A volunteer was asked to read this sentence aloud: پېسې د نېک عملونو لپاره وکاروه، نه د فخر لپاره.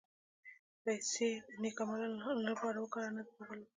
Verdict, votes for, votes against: rejected, 1, 2